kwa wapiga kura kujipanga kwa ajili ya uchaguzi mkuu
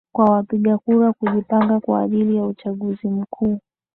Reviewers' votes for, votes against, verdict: 2, 0, accepted